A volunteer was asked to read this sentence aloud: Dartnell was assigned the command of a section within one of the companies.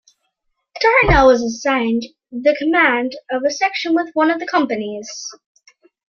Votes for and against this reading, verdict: 0, 2, rejected